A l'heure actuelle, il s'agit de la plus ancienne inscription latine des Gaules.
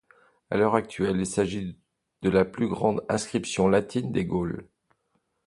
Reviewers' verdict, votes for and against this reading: rejected, 0, 2